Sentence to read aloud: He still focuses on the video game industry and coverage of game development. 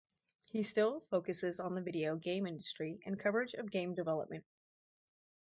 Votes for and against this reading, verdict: 4, 0, accepted